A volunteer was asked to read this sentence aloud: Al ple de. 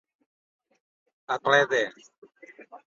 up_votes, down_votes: 2, 1